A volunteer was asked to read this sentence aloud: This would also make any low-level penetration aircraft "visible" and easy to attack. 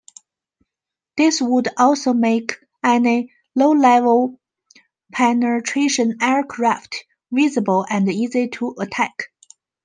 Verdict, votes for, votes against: rejected, 0, 3